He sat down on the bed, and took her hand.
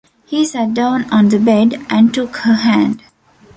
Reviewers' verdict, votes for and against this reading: accepted, 2, 0